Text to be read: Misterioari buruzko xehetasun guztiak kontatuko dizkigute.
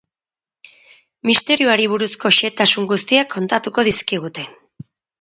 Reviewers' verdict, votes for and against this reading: accepted, 6, 0